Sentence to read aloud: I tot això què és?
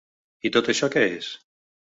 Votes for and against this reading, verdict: 2, 0, accepted